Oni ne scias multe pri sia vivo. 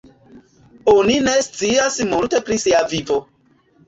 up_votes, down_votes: 2, 0